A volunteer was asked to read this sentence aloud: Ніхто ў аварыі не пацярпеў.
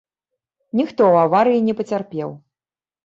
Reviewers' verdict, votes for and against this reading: accepted, 2, 0